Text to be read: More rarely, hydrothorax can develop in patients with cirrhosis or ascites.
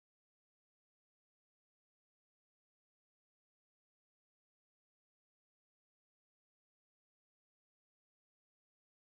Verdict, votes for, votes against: rejected, 0, 2